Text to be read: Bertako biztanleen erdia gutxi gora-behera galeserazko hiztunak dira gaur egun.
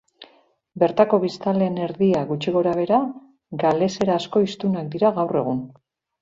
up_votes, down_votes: 2, 0